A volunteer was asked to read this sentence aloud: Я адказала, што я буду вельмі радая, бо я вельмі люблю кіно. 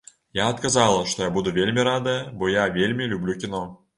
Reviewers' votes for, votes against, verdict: 2, 0, accepted